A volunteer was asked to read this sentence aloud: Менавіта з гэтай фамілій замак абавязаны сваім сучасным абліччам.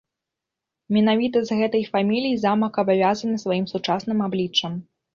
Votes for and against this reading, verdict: 2, 0, accepted